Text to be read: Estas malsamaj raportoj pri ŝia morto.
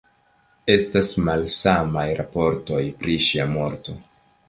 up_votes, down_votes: 3, 0